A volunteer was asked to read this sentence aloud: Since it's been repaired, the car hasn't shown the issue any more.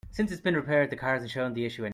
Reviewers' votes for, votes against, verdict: 0, 2, rejected